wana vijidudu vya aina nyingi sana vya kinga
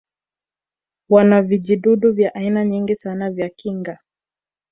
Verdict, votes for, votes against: rejected, 1, 2